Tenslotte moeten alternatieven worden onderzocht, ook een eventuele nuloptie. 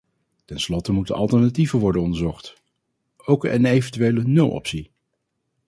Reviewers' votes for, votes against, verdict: 0, 4, rejected